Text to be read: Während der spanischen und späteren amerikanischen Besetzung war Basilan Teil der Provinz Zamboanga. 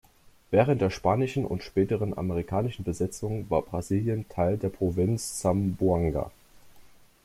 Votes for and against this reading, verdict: 1, 2, rejected